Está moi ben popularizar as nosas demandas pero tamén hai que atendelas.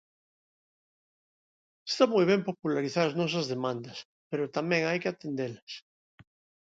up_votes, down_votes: 2, 0